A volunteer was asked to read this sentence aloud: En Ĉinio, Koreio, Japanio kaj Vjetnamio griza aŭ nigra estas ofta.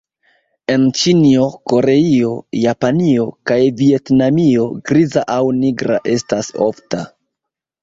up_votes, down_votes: 1, 2